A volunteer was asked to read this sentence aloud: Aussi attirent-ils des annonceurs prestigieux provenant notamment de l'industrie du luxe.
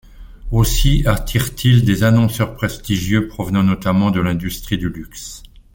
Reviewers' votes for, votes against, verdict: 2, 0, accepted